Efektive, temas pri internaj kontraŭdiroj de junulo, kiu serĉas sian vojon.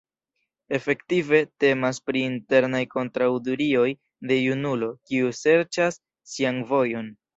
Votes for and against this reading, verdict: 1, 2, rejected